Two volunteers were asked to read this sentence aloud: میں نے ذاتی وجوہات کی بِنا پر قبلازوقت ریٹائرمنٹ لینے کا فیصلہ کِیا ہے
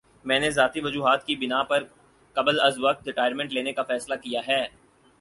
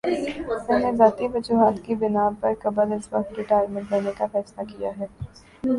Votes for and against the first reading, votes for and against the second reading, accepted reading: 6, 0, 1, 2, first